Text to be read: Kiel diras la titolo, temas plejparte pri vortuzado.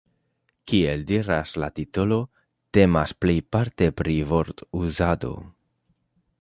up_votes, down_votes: 2, 0